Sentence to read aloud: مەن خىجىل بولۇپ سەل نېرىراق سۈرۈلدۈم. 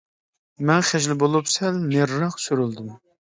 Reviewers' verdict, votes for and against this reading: rejected, 1, 2